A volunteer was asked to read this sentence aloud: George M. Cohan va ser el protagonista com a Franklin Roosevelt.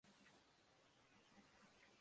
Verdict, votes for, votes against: rejected, 0, 2